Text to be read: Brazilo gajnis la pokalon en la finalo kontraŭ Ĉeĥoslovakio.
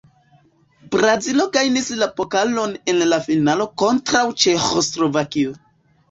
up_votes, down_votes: 2, 1